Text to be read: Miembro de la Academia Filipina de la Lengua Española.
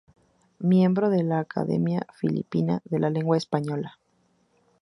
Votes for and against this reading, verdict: 4, 0, accepted